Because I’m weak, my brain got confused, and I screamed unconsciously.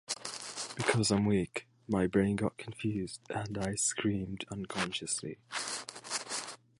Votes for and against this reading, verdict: 1, 2, rejected